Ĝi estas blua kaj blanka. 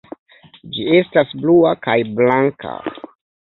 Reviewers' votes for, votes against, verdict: 2, 0, accepted